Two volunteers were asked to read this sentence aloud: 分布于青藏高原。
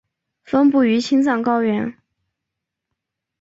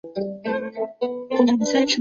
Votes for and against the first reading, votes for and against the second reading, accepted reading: 2, 0, 0, 2, first